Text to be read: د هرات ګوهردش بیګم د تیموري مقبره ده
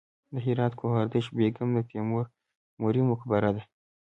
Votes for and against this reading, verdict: 2, 0, accepted